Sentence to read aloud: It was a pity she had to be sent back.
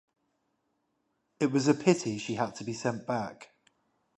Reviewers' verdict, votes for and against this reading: rejected, 0, 5